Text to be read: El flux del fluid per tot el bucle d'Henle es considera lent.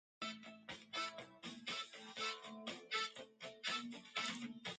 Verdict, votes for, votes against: rejected, 0, 2